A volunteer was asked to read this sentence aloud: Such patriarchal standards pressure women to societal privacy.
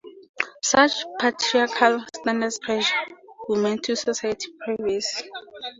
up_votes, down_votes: 0, 2